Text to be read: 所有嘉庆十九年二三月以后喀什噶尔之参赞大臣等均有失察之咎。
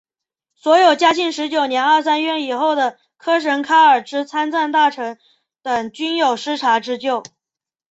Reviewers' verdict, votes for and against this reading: accepted, 2, 0